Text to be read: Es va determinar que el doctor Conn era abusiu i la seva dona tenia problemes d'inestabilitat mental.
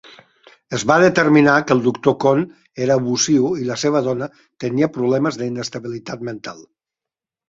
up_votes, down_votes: 2, 4